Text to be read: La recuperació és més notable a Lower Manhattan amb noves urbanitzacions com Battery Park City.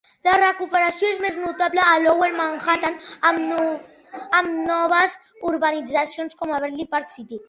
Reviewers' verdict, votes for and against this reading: rejected, 0, 2